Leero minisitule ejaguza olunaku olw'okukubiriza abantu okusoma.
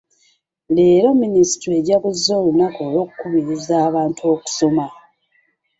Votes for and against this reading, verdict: 2, 0, accepted